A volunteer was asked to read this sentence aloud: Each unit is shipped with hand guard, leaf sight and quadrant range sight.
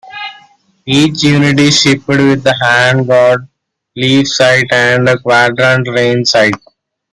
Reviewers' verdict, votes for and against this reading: rejected, 0, 2